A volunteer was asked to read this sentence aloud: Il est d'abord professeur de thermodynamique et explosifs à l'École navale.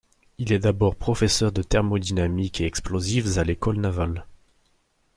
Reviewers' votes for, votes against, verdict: 2, 0, accepted